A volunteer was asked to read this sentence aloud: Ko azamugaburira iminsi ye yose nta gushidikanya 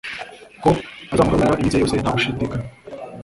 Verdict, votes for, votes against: rejected, 0, 2